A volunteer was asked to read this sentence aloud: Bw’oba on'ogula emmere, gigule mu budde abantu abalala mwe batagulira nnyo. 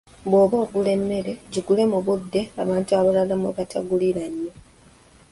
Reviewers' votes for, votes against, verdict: 1, 2, rejected